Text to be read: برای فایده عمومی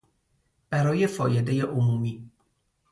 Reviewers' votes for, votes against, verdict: 0, 2, rejected